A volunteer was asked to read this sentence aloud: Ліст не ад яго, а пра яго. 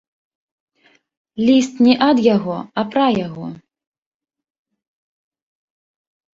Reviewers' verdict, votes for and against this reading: accepted, 2, 0